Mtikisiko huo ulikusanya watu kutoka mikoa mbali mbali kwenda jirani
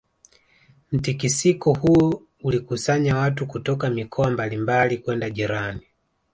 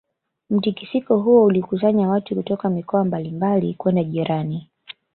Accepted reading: second